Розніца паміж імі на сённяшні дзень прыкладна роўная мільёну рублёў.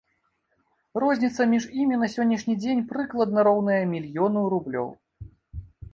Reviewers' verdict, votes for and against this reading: rejected, 1, 2